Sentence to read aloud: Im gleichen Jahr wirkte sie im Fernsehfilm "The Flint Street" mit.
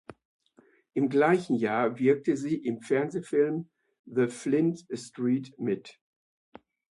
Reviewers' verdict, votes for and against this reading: accepted, 2, 0